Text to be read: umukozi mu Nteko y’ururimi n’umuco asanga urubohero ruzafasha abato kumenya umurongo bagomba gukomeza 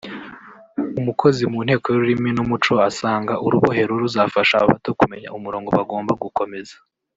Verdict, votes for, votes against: rejected, 1, 2